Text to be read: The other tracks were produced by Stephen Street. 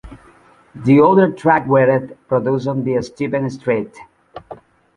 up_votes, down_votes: 1, 2